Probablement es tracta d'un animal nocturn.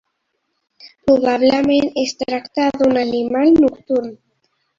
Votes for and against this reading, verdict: 2, 0, accepted